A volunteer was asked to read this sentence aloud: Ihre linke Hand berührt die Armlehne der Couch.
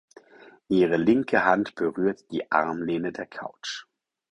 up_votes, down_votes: 4, 0